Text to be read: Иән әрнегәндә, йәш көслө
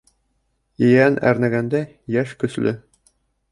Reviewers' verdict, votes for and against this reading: rejected, 0, 2